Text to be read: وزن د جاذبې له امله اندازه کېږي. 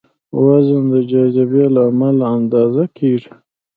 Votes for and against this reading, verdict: 2, 0, accepted